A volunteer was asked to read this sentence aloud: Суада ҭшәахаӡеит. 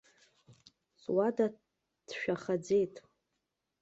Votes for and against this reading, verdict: 2, 0, accepted